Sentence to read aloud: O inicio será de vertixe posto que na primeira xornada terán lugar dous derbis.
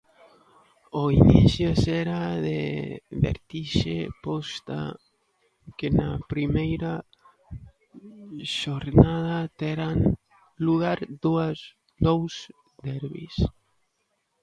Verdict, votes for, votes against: rejected, 0, 2